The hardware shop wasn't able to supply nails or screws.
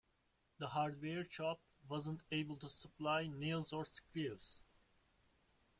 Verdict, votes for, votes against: rejected, 0, 2